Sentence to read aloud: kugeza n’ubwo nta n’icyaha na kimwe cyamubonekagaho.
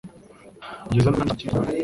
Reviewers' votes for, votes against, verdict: 0, 2, rejected